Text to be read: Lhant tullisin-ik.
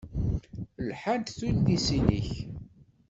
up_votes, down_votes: 1, 2